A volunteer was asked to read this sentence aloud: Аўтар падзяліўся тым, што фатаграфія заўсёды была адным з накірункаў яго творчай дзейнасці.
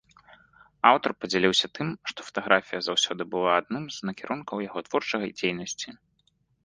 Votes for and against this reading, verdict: 1, 3, rejected